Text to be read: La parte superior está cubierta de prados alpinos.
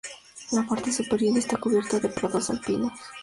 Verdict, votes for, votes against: accepted, 2, 0